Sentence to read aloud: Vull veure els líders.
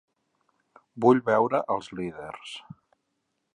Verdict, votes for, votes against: accepted, 4, 1